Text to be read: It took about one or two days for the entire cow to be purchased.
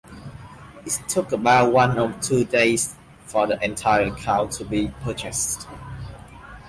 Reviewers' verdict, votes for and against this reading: rejected, 0, 2